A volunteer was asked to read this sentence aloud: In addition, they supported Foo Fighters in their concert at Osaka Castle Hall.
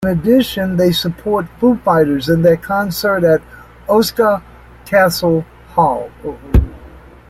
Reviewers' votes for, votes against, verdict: 0, 2, rejected